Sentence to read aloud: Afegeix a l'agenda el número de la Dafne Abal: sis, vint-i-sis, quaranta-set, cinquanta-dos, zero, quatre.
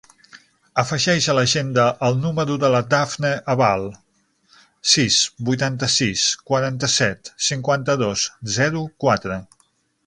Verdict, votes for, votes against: rejected, 0, 6